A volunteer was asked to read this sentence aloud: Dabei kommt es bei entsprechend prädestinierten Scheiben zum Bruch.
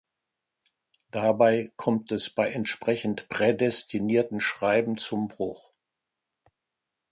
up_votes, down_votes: 0, 2